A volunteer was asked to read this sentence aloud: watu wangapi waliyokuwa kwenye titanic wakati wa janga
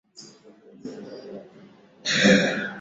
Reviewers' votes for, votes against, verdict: 0, 2, rejected